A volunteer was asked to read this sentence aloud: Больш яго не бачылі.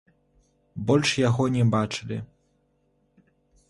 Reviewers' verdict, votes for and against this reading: rejected, 0, 2